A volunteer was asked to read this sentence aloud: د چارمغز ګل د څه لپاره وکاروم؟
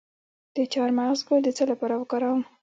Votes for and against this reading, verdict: 3, 2, accepted